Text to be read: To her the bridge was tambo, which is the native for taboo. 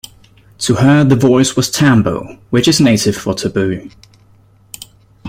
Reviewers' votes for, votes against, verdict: 1, 2, rejected